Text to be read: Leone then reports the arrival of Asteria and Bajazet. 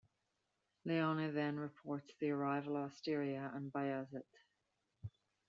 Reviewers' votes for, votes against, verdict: 2, 0, accepted